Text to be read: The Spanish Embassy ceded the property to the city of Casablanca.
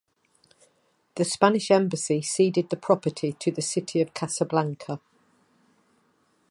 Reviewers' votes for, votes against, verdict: 2, 0, accepted